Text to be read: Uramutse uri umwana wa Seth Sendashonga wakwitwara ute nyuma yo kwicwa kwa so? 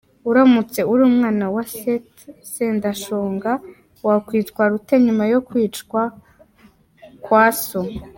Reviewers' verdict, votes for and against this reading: accepted, 3, 0